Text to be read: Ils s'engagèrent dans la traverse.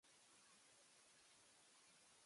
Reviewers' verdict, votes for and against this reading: rejected, 0, 2